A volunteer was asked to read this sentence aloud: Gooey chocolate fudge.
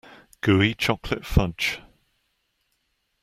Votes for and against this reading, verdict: 2, 0, accepted